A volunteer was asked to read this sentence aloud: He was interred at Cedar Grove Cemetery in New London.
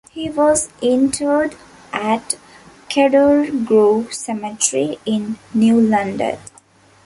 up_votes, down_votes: 0, 2